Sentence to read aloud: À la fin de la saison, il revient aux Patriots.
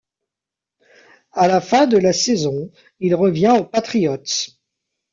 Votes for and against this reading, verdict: 0, 2, rejected